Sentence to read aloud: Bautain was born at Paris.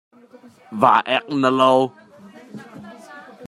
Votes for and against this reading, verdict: 0, 2, rejected